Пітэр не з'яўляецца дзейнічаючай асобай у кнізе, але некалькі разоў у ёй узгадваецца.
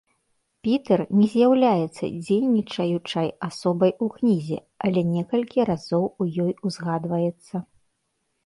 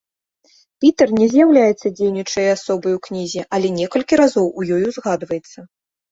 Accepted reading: first